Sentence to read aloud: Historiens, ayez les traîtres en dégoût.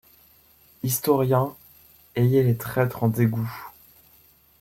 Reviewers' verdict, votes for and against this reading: accepted, 2, 0